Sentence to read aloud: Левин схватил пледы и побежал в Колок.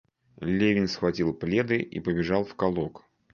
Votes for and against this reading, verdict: 2, 0, accepted